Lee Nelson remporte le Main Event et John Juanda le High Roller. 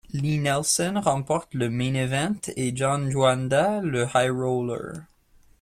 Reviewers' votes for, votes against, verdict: 0, 2, rejected